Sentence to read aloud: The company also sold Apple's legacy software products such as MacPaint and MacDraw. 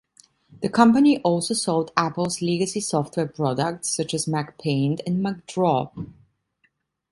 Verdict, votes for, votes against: accepted, 2, 0